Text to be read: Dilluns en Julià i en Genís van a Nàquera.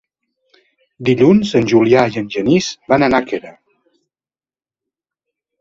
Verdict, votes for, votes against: accepted, 2, 0